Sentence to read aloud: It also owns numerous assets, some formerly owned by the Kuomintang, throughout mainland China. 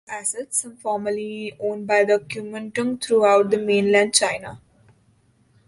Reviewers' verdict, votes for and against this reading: rejected, 0, 2